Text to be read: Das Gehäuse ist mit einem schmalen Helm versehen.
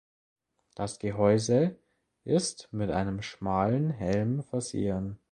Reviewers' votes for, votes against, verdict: 2, 0, accepted